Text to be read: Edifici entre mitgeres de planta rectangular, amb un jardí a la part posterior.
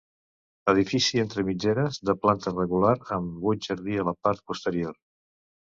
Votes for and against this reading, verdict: 1, 2, rejected